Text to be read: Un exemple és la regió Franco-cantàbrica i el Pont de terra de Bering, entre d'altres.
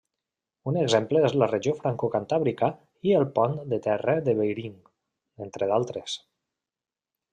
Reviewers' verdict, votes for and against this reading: rejected, 1, 2